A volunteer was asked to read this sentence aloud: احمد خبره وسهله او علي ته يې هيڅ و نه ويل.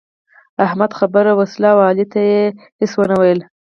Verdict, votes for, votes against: accepted, 4, 0